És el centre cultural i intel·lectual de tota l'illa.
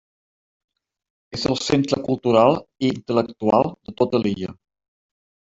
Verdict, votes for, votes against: rejected, 0, 2